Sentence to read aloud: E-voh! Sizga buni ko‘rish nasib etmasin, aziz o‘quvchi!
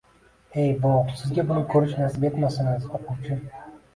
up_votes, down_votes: 2, 1